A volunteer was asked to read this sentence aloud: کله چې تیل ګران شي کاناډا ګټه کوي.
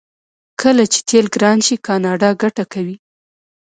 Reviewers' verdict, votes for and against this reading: rejected, 0, 2